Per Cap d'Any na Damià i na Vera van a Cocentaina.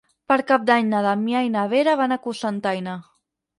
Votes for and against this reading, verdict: 6, 0, accepted